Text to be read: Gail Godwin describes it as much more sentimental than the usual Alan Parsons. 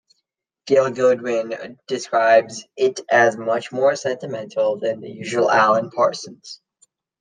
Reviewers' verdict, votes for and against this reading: accepted, 2, 1